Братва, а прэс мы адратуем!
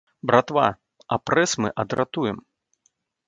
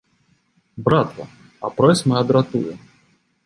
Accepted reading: first